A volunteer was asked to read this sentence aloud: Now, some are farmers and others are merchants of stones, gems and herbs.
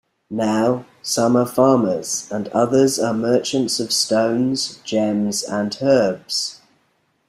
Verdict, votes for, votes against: accepted, 2, 0